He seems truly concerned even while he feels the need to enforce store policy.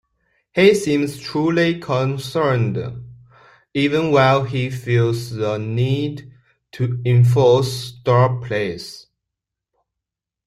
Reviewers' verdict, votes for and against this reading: rejected, 0, 2